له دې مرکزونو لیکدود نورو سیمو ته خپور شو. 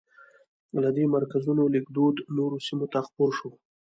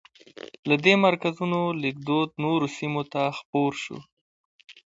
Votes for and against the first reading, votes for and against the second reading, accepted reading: 1, 2, 2, 0, second